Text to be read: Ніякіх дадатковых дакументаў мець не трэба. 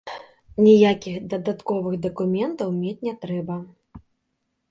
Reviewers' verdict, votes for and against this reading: accepted, 3, 1